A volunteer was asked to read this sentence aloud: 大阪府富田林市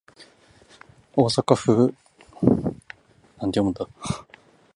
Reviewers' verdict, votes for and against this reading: rejected, 0, 2